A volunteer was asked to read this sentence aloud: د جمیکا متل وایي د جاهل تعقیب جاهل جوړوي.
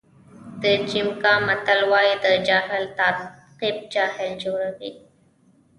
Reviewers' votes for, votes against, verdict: 1, 2, rejected